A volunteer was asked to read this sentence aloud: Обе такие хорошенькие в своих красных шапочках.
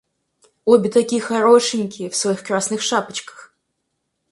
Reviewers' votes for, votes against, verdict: 4, 0, accepted